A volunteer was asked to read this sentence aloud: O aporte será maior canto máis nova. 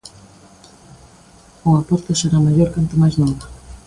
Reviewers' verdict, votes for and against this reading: accepted, 2, 0